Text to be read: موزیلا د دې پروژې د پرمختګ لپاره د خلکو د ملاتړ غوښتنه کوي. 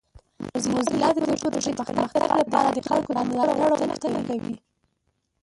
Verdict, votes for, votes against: rejected, 0, 2